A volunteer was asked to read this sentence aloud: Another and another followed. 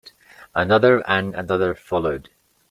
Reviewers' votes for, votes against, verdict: 2, 0, accepted